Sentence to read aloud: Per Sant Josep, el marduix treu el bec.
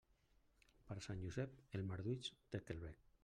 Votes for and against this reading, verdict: 0, 2, rejected